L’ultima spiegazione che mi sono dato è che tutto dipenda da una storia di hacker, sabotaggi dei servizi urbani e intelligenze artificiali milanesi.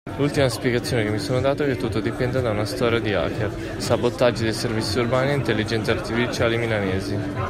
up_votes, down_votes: 2, 0